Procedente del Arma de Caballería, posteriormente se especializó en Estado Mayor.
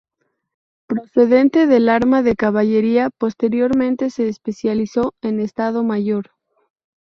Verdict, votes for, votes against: rejected, 2, 2